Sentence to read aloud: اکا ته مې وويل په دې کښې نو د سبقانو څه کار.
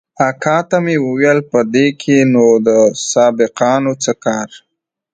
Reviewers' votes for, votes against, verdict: 2, 0, accepted